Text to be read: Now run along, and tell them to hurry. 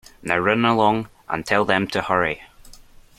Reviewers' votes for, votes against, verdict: 2, 0, accepted